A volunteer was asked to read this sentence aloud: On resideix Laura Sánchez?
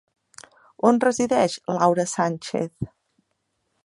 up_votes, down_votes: 3, 0